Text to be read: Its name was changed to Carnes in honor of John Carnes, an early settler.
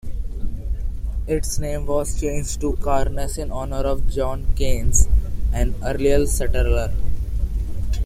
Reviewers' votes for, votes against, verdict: 1, 2, rejected